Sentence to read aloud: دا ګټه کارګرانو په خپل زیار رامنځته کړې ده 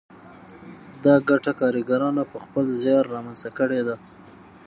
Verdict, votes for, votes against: rejected, 3, 6